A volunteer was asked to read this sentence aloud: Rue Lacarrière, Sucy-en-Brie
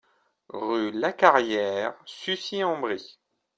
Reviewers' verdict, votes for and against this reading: accepted, 2, 0